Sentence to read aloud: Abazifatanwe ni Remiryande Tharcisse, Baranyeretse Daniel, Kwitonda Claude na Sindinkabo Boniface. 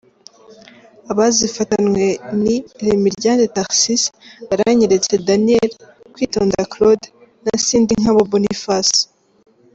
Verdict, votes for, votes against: accepted, 2, 1